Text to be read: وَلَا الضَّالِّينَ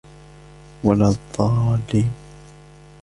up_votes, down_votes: 1, 2